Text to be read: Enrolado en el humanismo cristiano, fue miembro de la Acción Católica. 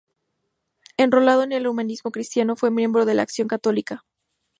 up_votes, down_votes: 0, 2